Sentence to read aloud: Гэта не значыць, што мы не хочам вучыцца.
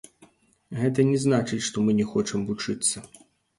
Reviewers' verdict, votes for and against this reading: rejected, 1, 2